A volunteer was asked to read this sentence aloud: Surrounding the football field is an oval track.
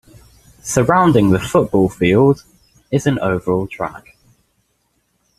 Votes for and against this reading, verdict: 2, 0, accepted